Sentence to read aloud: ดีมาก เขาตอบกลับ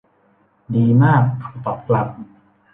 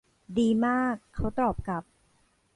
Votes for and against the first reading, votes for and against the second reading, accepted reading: 2, 0, 1, 2, first